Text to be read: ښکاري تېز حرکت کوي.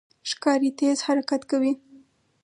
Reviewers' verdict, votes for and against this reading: rejected, 2, 2